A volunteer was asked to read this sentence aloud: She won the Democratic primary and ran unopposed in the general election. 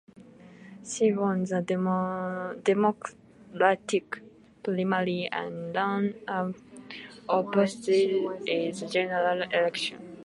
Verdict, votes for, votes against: rejected, 0, 2